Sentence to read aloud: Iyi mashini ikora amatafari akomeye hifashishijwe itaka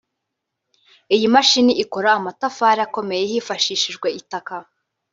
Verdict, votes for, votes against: rejected, 1, 2